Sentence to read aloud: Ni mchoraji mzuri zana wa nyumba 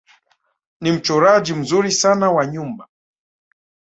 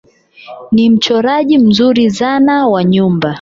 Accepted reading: second